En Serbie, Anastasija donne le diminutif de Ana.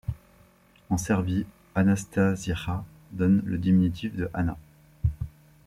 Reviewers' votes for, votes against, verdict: 0, 2, rejected